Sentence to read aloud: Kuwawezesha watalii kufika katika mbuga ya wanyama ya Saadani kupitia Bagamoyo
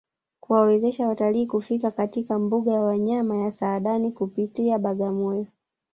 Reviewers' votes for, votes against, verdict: 0, 2, rejected